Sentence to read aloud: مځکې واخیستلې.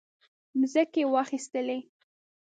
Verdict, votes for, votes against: accepted, 2, 0